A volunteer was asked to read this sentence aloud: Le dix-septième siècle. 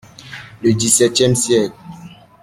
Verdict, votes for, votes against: accepted, 2, 0